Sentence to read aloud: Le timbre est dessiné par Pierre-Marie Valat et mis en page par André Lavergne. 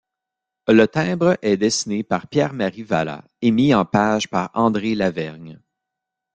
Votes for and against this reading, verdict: 2, 0, accepted